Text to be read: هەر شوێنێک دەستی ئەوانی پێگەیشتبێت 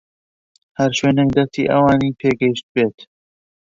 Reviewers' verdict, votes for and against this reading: rejected, 1, 2